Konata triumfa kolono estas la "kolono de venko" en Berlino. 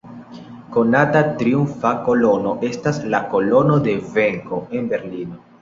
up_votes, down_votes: 1, 2